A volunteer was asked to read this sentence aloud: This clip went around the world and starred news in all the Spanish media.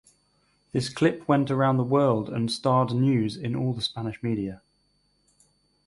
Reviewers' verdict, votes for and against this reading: accepted, 4, 0